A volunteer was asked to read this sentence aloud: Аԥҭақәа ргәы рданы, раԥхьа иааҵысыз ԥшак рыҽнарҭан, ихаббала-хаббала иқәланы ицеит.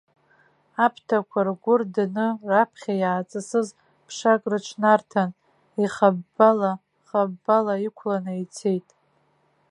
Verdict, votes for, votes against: accepted, 3, 1